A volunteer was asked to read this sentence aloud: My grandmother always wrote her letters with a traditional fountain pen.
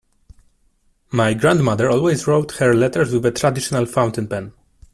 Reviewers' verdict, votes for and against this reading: accepted, 2, 0